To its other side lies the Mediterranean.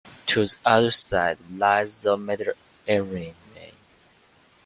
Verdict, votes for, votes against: rejected, 0, 2